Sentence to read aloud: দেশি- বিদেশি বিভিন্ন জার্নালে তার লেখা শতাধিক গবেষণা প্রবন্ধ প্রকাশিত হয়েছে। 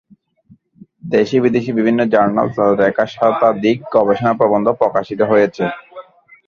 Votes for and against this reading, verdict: 17, 21, rejected